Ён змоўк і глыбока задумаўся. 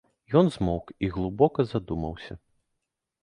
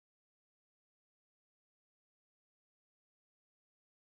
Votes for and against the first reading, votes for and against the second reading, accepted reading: 2, 0, 0, 2, first